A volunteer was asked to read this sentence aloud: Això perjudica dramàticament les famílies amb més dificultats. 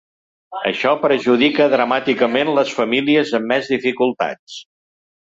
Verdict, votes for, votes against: accepted, 4, 0